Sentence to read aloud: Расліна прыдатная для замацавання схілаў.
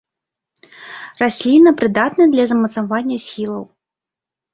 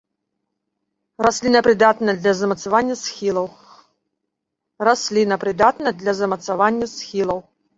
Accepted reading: first